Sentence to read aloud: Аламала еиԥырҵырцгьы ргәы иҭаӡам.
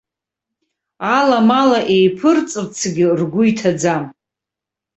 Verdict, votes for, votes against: rejected, 1, 2